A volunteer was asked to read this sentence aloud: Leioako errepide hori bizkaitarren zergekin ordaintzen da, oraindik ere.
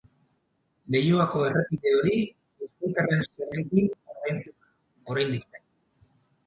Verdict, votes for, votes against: rejected, 0, 4